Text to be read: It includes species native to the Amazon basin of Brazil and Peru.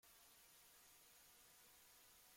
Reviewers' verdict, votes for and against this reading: rejected, 1, 2